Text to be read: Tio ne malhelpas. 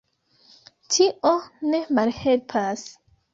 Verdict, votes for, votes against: rejected, 0, 2